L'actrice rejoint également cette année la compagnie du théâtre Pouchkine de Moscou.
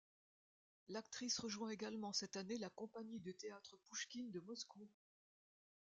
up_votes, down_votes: 1, 2